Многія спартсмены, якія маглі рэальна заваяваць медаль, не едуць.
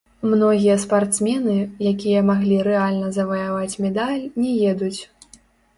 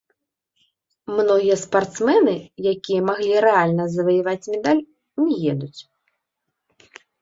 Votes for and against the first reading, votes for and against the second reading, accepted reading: 0, 2, 2, 0, second